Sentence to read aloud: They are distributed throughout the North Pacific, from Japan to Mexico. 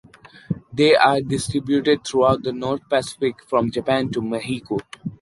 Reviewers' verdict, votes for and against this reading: accepted, 2, 0